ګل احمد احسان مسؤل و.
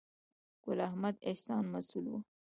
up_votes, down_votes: 2, 1